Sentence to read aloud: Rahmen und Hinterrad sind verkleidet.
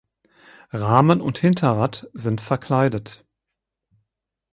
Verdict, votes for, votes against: accepted, 4, 0